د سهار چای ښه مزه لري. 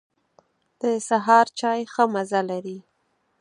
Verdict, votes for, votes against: accepted, 6, 0